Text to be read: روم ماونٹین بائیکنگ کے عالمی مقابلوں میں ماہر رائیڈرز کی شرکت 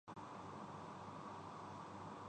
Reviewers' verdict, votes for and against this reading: rejected, 0, 2